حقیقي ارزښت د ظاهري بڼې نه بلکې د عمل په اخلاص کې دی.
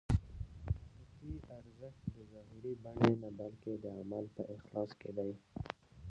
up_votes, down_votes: 0, 2